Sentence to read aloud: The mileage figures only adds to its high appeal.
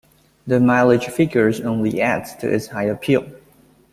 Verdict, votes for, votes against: accepted, 2, 0